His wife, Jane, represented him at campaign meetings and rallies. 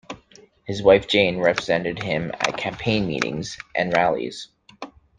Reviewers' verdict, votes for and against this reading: rejected, 1, 2